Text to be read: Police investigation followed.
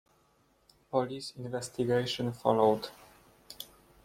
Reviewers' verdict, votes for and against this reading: accepted, 2, 0